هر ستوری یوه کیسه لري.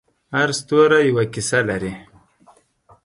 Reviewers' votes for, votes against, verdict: 4, 0, accepted